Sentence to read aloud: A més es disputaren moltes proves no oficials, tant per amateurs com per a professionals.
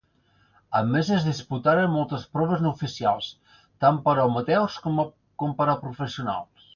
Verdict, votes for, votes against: rejected, 1, 2